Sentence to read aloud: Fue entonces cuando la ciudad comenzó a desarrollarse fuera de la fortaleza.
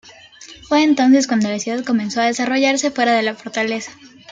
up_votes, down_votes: 2, 0